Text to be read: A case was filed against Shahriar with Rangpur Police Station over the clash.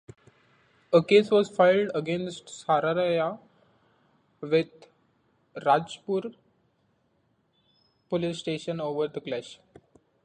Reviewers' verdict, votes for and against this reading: rejected, 0, 2